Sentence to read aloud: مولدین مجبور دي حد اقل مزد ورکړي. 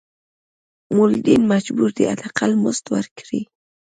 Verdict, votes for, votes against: accepted, 2, 0